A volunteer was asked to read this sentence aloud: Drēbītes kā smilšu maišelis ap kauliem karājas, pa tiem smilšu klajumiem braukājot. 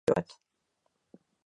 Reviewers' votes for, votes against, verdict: 0, 2, rejected